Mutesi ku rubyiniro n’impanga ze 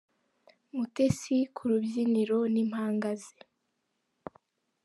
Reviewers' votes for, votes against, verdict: 2, 0, accepted